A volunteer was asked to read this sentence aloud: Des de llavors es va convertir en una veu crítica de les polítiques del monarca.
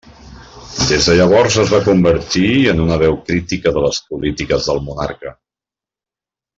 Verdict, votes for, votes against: accepted, 3, 0